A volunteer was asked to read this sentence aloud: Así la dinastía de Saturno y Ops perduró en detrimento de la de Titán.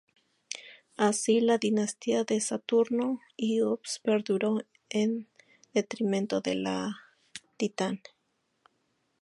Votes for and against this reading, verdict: 0, 4, rejected